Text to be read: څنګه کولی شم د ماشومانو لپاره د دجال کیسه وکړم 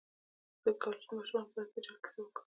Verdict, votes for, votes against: rejected, 0, 2